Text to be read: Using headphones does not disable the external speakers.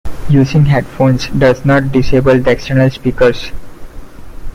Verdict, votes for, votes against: accepted, 2, 0